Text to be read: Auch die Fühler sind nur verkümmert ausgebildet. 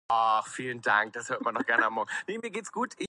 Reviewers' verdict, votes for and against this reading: rejected, 0, 2